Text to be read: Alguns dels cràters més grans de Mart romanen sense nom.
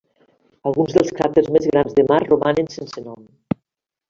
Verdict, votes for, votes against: accepted, 2, 0